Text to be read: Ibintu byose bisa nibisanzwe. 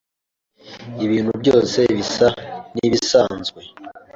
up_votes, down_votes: 2, 0